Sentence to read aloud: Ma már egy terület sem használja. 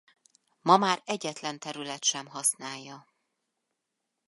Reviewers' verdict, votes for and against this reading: rejected, 0, 2